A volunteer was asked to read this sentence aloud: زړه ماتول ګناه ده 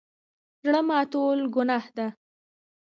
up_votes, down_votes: 2, 1